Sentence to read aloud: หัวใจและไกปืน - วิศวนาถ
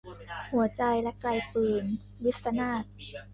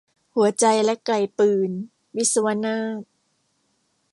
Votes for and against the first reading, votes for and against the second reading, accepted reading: 0, 2, 2, 0, second